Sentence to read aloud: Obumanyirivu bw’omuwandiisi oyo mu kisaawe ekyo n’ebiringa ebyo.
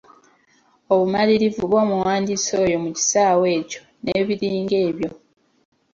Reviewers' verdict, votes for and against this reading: accepted, 2, 1